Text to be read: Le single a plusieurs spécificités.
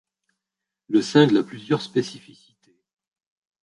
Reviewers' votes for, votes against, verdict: 1, 2, rejected